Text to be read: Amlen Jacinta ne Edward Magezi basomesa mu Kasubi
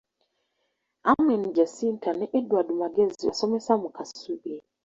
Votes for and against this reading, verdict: 0, 2, rejected